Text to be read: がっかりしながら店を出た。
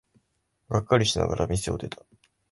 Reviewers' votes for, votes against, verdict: 2, 0, accepted